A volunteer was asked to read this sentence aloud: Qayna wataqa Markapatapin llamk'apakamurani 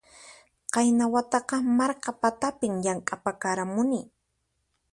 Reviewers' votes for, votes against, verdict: 0, 4, rejected